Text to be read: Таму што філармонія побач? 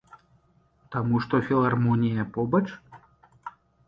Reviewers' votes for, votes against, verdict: 2, 1, accepted